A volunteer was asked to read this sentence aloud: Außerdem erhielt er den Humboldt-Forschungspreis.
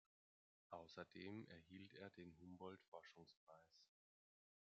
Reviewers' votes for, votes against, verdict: 1, 2, rejected